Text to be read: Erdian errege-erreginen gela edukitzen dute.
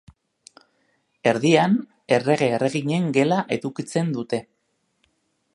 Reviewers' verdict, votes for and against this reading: accepted, 2, 0